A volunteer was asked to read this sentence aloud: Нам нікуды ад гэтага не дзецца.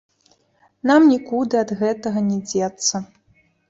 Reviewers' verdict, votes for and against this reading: rejected, 1, 2